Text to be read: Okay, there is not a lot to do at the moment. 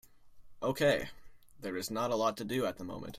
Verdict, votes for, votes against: accepted, 2, 0